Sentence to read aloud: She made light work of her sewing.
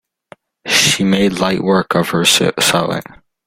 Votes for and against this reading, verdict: 0, 2, rejected